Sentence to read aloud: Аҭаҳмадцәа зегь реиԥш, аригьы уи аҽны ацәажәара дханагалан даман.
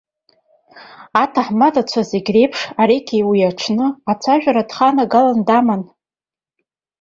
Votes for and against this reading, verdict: 0, 2, rejected